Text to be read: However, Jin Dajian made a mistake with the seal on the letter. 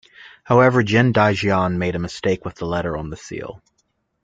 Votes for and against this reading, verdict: 0, 2, rejected